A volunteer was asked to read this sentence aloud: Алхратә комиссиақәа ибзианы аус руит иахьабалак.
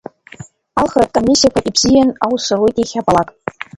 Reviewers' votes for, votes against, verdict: 0, 3, rejected